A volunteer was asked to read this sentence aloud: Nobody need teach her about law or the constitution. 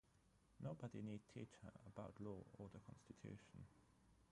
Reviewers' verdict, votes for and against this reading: rejected, 0, 3